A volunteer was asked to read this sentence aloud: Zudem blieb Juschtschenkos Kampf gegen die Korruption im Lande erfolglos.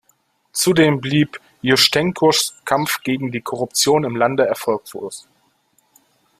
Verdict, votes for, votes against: rejected, 1, 2